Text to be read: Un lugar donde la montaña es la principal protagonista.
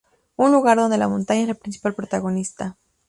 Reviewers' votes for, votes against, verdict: 2, 0, accepted